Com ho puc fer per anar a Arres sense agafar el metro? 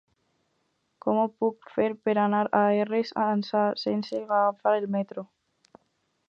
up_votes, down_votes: 0, 4